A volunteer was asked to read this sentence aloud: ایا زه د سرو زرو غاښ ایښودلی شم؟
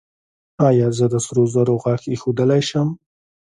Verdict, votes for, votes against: rejected, 2, 3